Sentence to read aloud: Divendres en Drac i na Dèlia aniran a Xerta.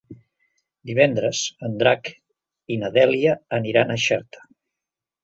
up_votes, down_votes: 2, 0